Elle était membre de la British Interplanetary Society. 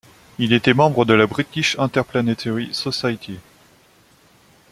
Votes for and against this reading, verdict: 0, 2, rejected